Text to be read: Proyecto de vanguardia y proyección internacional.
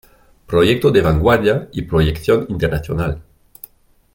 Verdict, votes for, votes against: accepted, 2, 0